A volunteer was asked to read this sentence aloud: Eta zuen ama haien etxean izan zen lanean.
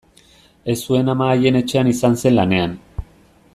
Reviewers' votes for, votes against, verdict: 0, 2, rejected